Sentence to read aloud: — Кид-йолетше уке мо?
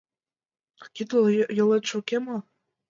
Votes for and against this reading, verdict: 1, 2, rejected